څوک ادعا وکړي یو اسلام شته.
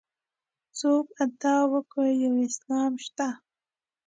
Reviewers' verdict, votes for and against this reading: rejected, 1, 2